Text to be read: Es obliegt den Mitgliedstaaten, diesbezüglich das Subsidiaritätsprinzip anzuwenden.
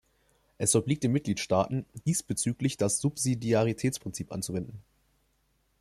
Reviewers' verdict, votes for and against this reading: accepted, 2, 0